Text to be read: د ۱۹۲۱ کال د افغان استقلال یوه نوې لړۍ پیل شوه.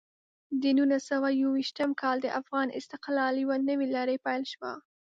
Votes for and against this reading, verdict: 0, 2, rejected